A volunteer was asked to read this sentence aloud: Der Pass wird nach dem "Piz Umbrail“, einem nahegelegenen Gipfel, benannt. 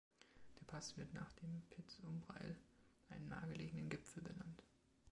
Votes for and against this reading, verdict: 2, 0, accepted